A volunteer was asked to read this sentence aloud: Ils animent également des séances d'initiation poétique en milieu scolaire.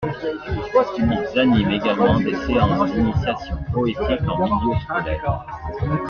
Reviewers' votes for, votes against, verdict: 2, 1, accepted